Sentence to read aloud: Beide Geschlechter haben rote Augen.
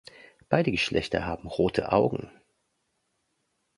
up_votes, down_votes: 2, 0